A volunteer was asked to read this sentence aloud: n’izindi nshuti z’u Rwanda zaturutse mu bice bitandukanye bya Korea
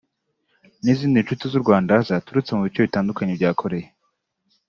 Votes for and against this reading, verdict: 2, 0, accepted